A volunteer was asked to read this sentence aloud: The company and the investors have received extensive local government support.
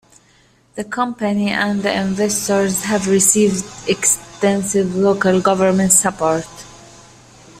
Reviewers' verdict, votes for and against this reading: accepted, 2, 0